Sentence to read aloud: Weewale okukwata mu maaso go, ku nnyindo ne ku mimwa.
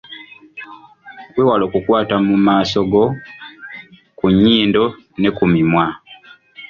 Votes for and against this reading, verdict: 1, 2, rejected